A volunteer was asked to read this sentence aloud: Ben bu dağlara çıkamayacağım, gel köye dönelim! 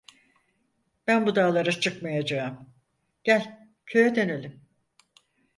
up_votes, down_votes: 2, 4